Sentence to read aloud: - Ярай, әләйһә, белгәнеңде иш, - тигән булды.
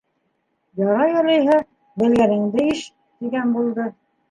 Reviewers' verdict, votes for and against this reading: rejected, 1, 2